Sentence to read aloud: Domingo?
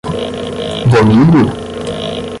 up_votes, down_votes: 5, 5